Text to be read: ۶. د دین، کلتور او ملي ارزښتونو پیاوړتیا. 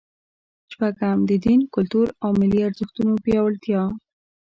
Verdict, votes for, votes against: rejected, 0, 2